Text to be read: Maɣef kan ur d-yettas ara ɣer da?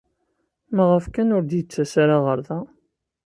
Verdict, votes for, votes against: accepted, 2, 0